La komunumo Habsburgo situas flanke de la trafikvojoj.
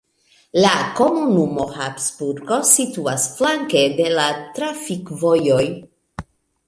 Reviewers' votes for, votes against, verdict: 2, 1, accepted